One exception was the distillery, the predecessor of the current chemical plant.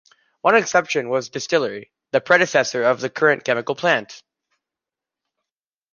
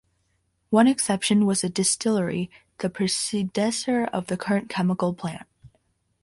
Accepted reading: first